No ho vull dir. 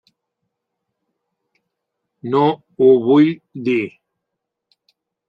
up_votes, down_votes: 3, 0